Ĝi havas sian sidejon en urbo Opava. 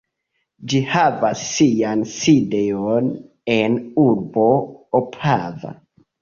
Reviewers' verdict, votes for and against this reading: accepted, 2, 0